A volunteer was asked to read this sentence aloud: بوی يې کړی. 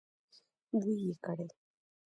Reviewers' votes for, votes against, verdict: 1, 2, rejected